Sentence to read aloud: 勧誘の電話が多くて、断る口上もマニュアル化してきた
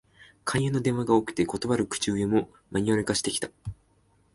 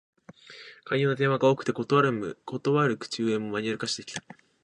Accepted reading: first